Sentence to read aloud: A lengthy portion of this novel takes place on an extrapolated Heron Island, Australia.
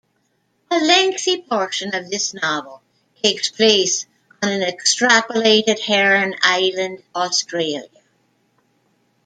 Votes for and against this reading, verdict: 0, 2, rejected